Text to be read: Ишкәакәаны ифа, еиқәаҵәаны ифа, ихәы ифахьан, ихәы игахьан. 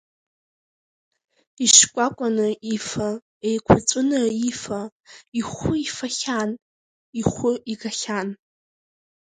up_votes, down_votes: 2, 0